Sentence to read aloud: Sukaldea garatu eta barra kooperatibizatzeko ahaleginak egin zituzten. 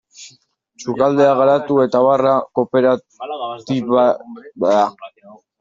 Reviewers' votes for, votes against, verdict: 0, 2, rejected